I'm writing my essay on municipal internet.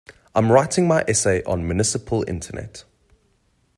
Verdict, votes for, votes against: accepted, 2, 0